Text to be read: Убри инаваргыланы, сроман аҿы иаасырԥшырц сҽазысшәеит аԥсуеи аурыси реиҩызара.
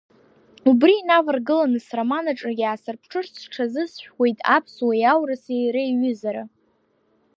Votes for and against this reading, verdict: 0, 2, rejected